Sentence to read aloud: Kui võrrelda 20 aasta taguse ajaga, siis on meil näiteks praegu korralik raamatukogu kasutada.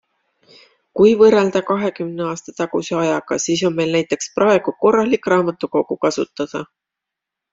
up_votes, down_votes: 0, 2